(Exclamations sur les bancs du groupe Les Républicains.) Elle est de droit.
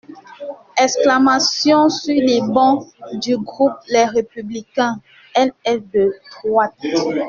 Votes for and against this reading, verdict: 2, 0, accepted